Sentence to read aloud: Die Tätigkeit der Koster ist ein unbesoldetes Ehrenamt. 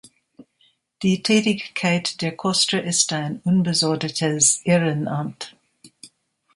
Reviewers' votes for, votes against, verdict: 3, 0, accepted